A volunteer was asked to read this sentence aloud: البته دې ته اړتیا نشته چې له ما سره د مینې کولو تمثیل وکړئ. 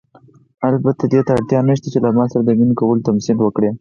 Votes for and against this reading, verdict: 0, 4, rejected